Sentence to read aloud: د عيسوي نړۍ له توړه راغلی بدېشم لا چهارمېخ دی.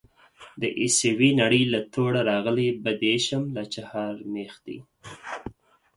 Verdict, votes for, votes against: accepted, 4, 0